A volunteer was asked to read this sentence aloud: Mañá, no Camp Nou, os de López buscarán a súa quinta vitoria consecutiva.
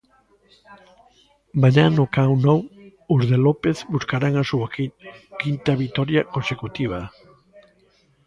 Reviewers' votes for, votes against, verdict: 0, 2, rejected